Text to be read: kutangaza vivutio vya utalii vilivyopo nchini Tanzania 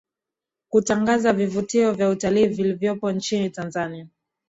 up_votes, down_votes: 2, 0